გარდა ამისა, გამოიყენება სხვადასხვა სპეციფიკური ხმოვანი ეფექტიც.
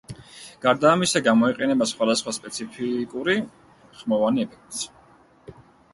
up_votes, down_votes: 2, 0